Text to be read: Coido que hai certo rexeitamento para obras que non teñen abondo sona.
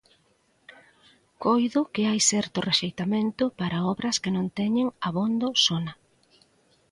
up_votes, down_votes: 2, 0